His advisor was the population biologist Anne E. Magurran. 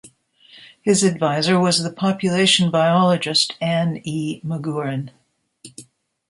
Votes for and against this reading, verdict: 2, 0, accepted